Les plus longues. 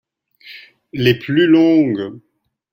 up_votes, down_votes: 2, 0